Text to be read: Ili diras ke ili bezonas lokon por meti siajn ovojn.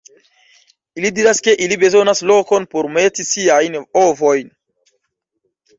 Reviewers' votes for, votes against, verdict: 2, 1, accepted